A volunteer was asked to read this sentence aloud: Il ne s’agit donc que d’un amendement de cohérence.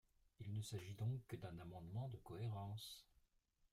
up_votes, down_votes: 0, 2